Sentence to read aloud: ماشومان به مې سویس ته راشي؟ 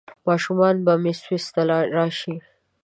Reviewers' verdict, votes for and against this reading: rejected, 0, 2